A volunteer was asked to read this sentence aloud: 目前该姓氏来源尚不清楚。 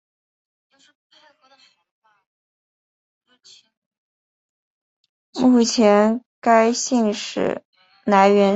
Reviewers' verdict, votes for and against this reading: rejected, 0, 2